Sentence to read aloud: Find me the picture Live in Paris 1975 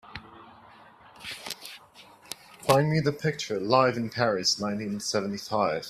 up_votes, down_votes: 0, 2